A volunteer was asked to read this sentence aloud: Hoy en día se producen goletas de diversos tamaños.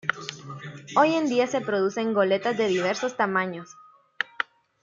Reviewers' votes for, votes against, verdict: 2, 1, accepted